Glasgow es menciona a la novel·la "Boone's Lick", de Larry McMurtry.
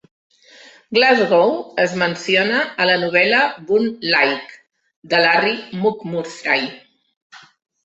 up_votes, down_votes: 2, 0